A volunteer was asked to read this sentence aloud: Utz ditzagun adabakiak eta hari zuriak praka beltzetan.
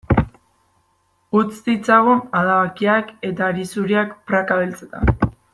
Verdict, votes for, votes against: accepted, 2, 0